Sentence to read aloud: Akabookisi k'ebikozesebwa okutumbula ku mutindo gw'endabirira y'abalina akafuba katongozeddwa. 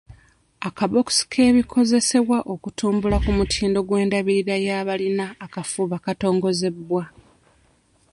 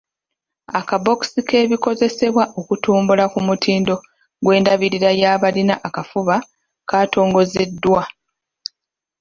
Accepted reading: second